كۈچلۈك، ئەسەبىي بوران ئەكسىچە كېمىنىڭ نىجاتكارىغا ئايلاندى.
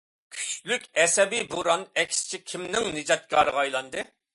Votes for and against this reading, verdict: 2, 0, accepted